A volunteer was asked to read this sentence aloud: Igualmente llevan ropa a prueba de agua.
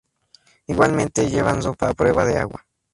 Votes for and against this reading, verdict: 2, 0, accepted